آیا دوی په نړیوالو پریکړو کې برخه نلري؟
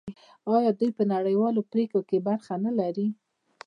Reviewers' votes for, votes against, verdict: 2, 1, accepted